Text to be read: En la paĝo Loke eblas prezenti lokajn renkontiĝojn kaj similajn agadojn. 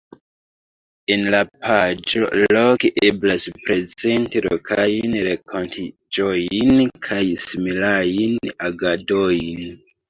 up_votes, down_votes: 0, 2